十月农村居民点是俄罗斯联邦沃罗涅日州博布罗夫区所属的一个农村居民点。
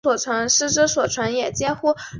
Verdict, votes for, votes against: accepted, 5, 4